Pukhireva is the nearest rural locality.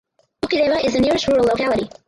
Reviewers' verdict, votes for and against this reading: rejected, 0, 4